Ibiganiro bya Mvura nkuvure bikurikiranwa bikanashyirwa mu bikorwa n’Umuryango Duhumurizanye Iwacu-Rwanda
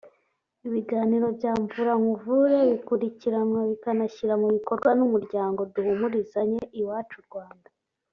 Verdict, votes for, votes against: accepted, 2, 0